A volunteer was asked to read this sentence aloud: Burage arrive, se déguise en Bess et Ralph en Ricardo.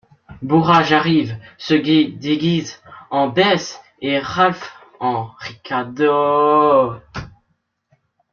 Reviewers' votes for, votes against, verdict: 1, 2, rejected